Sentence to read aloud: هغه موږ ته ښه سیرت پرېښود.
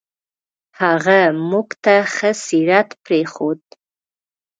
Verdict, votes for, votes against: accepted, 2, 0